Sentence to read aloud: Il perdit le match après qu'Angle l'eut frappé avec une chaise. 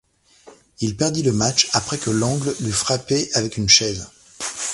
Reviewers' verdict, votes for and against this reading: rejected, 0, 2